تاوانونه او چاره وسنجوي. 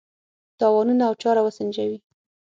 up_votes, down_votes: 3, 6